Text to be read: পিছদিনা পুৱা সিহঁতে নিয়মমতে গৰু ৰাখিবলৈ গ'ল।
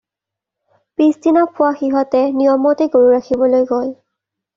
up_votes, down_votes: 2, 0